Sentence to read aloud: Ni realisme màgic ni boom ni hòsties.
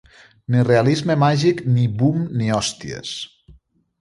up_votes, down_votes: 2, 0